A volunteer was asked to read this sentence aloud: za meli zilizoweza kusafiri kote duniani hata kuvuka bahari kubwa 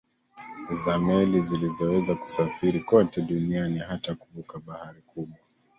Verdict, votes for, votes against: accepted, 2, 1